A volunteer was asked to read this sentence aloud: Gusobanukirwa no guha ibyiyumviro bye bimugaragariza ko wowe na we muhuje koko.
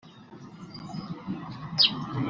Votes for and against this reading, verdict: 0, 2, rejected